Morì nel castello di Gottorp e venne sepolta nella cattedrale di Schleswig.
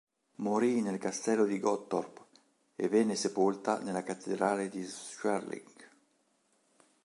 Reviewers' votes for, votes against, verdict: 1, 3, rejected